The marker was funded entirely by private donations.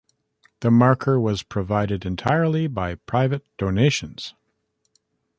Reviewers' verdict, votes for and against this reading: rejected, 0, 2